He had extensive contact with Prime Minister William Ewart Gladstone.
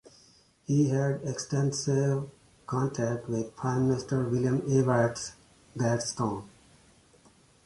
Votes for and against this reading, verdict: 1, 2, rejected